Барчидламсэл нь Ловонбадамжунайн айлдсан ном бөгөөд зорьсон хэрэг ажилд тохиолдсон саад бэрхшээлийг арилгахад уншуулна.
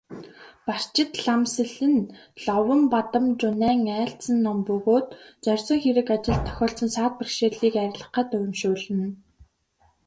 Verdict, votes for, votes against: accepted, 3, 0